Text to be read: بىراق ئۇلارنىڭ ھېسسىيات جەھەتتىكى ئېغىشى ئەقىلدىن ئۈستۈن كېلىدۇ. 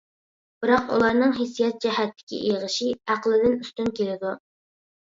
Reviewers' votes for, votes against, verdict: 2, 0, accepted